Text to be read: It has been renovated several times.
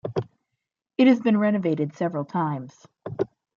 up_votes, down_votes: 2, 0